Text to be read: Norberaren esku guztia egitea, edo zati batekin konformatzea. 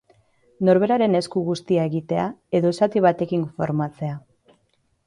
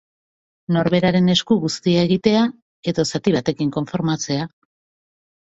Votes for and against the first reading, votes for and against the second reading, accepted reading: 1, 2, 2, 0, second